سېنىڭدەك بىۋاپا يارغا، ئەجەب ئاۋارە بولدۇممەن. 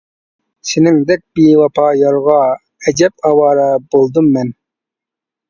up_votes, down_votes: 2, 0